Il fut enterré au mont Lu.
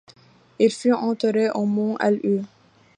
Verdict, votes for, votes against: accepted, 2, 1